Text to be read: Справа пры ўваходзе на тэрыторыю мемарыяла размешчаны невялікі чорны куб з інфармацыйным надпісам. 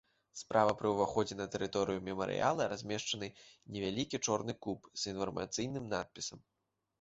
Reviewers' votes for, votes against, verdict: 0, 2, rejected